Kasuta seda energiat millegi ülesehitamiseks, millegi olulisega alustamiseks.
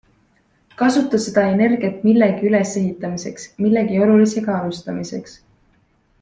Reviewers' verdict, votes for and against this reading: accepted, 2, 0